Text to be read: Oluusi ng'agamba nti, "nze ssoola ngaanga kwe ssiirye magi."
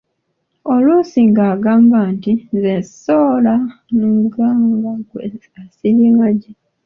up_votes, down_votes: 1, 3